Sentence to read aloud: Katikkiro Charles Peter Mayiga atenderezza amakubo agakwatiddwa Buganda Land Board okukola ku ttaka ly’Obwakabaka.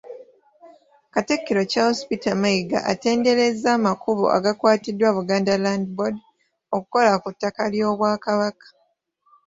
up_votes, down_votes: 2, 1